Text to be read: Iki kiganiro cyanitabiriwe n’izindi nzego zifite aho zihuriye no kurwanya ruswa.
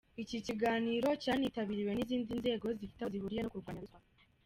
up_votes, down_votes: 1, 3